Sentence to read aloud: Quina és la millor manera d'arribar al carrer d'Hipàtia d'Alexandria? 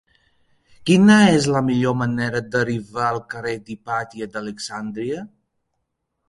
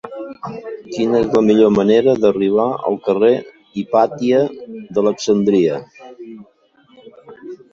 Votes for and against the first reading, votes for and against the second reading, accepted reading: 2, 1, 1, 2, first